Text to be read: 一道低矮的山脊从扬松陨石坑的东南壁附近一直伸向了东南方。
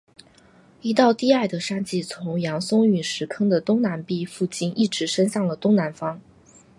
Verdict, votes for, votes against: accepted, 2, 1